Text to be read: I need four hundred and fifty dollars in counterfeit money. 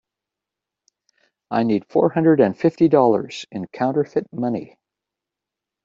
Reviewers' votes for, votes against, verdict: 2, 0, accepted